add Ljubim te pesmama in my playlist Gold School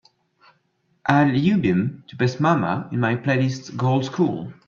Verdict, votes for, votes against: accepted, 2, 1